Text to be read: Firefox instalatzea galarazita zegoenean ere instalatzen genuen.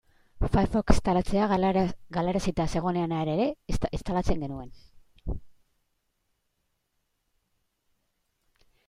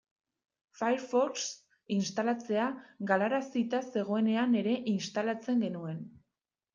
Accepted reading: second